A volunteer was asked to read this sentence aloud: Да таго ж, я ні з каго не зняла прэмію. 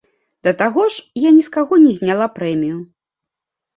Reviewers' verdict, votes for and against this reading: accepted, 2, 0